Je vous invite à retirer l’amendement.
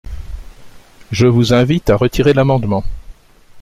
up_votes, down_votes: 2, 0